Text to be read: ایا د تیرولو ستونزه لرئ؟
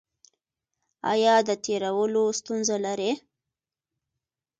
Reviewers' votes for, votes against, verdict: 2, 1, accepted